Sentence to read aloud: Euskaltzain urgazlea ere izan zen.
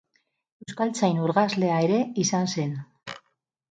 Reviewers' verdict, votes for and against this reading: rejected, 2, 2